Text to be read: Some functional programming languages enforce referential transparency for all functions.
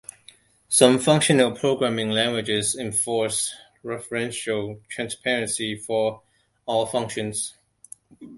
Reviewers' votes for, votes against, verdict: 2, 0, accepted